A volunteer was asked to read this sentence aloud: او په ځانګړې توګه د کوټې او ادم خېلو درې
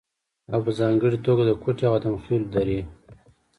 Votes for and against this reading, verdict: 2, 1, accepted